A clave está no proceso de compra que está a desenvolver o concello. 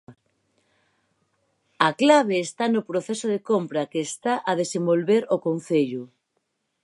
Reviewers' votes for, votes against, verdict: 4, 0, accepted